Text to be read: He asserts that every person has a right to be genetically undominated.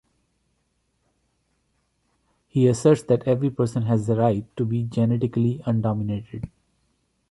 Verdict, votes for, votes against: rejected, 0, 2